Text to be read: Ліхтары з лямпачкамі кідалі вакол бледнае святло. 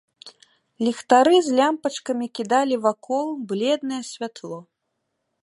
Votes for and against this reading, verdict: 2, 0, accepted